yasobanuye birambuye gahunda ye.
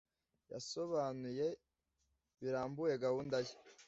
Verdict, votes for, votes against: accepted, 2, 0